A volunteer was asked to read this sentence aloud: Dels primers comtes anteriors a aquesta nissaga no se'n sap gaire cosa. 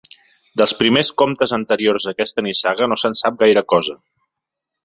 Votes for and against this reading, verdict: 2, 0, accepted